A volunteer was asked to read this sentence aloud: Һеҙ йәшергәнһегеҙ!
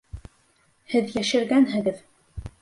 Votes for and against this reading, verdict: 1, 2, rejected